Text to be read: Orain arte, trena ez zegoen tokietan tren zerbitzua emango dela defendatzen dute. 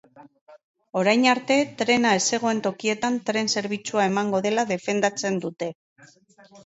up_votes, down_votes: 3, 0